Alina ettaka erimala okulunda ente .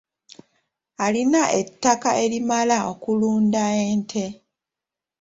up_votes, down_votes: 2, 0